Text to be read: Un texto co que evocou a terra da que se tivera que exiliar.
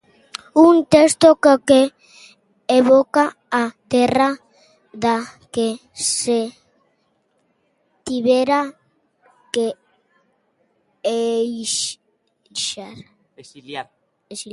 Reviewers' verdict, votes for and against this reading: rejected, 0, 2